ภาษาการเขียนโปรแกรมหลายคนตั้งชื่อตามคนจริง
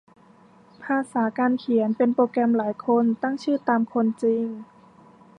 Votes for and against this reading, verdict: 1, 2, rejected